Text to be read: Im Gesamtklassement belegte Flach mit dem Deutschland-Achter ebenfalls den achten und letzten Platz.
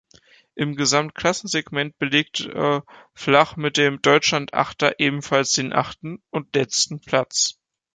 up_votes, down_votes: 1, 2